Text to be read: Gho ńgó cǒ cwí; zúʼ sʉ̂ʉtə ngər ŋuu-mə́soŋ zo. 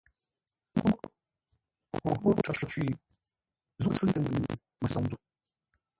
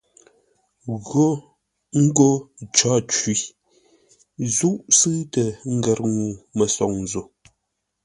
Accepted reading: second